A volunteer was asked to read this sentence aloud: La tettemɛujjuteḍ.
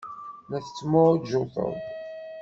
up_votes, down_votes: 1, 2